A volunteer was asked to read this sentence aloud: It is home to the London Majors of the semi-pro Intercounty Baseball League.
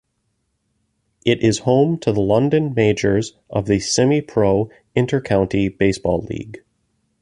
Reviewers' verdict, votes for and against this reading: accepted, 2, 0